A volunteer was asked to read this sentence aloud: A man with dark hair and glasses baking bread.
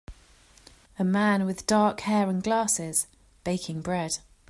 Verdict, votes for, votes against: accepted, 2, 0